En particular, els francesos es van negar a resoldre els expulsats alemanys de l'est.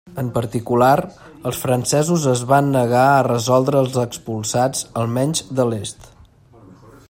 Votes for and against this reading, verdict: 0, 2, rejected